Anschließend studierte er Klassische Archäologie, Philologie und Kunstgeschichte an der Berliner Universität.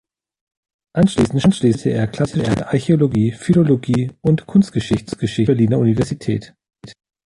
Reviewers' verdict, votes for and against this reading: rejected, 1, 2